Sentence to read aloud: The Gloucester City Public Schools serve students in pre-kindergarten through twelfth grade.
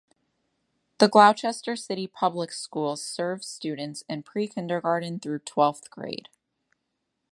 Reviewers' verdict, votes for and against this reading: rejected, 1, 2